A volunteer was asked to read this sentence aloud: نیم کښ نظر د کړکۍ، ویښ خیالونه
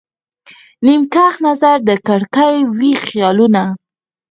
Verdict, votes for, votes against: rejected, 0, 4